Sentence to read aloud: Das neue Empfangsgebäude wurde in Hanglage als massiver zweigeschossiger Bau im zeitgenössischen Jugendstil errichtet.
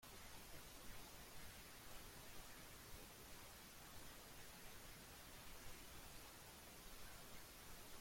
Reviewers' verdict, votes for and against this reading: rejected, 0, 2